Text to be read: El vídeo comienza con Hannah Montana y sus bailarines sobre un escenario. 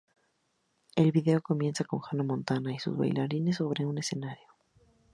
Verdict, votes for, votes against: accepted, 2, 0